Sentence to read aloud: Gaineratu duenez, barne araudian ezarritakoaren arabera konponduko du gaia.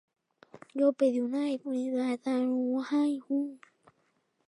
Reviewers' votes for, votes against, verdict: 0, 3, rejected